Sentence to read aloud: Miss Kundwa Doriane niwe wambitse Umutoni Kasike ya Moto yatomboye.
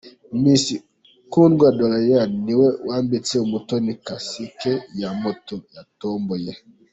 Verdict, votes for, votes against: accepted, 2, 1